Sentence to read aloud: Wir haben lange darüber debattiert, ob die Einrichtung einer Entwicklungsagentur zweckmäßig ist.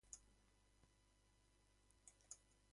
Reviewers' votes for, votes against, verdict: 0, 2, rejected